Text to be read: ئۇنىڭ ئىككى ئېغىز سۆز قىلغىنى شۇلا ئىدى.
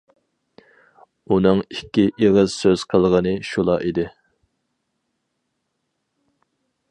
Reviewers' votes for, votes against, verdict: 4, 0, accepted